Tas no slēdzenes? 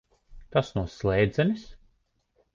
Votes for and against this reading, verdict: 3, 0, accepted